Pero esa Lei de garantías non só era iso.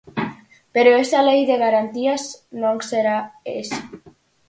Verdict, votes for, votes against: rejected, 0, 4